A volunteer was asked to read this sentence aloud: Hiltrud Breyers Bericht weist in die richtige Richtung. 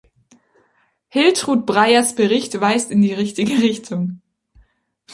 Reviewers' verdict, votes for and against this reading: accepted, 2, 1